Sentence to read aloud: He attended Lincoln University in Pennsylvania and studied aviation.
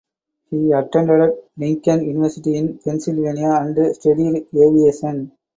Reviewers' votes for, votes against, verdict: 2, 4, rejected